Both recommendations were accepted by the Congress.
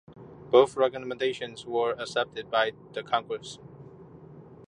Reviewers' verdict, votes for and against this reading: accepted, 2, 0